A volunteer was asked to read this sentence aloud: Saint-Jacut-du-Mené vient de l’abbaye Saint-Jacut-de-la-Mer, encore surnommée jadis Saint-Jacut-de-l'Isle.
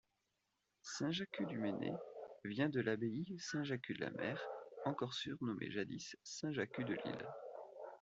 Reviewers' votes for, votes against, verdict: 2, 0, accepted